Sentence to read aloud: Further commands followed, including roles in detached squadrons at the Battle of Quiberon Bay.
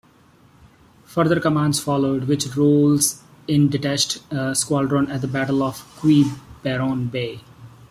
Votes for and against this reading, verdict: 0, 2, rejected